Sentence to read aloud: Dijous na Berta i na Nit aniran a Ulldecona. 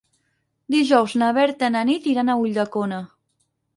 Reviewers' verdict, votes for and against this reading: rejected, 0, 4